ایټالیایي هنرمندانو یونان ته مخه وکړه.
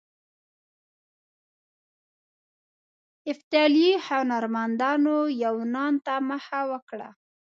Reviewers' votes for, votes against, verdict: 0, 2, rejected